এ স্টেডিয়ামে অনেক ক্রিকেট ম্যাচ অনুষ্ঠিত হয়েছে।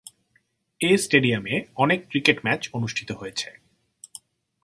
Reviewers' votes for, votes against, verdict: 5, 0, accepted